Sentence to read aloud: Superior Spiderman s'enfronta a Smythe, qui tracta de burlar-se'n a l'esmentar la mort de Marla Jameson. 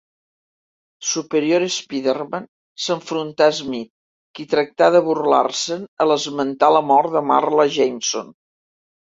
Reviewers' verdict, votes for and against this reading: accepted, 2, 1